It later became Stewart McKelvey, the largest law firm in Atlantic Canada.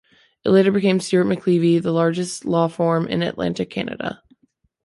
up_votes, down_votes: 1, 3